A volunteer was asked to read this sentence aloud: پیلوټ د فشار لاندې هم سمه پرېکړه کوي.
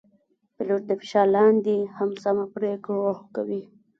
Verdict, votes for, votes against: rejected, 1, 2